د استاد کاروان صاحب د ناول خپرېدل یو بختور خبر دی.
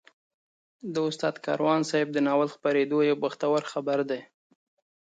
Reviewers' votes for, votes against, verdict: 2, 0, accepted